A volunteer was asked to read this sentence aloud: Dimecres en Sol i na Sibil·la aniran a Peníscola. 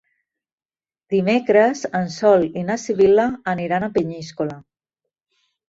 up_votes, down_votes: 2, 0